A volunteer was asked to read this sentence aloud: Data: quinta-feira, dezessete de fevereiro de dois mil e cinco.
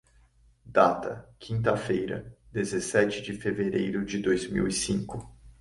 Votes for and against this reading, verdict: 2, 0, accepted